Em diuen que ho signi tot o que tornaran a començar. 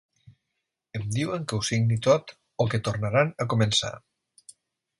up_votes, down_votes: 3, 0